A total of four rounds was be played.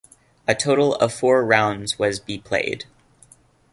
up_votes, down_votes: 2, 0